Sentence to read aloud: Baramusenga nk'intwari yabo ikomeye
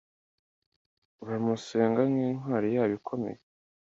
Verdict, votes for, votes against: accepted, 2, 0